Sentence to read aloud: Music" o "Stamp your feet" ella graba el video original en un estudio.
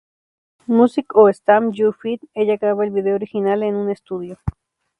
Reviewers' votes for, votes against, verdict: 2, 0, accepted